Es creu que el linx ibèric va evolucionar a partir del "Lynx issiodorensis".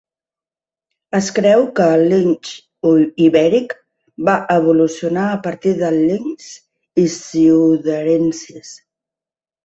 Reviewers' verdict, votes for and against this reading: rejected, 0, 2